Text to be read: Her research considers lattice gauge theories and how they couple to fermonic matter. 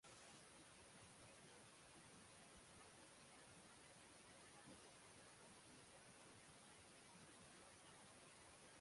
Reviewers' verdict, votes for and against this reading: rejected, 0, 6